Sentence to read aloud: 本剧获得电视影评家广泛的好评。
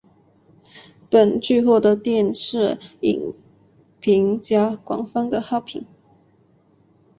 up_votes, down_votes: 7, 1